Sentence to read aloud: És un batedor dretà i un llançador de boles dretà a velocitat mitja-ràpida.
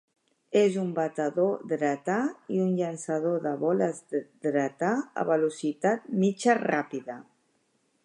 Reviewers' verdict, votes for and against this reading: rejected, 0, 2